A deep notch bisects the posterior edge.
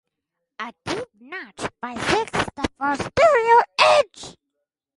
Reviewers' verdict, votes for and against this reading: rejected, 2, 4